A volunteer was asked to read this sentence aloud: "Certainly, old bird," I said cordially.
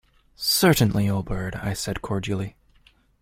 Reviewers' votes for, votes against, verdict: 2, 0, accepted